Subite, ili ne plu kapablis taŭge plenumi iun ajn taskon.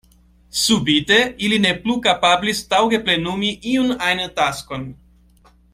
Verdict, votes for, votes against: accepted, 2, 0